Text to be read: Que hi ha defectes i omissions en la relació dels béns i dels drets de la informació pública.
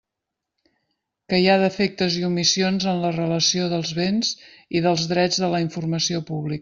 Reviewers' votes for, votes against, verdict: 1, 2, rejected